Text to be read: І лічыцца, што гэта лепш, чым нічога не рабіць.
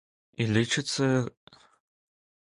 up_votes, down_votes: 0, 2